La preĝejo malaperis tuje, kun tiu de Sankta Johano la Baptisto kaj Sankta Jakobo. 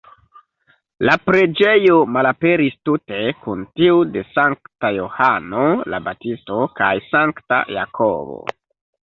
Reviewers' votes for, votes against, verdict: 0, 2, rejected